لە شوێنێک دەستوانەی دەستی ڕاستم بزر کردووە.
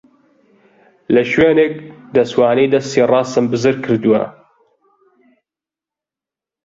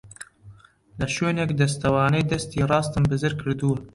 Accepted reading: first